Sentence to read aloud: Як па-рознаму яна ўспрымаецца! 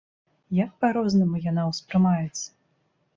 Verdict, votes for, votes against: accepted, 2, 0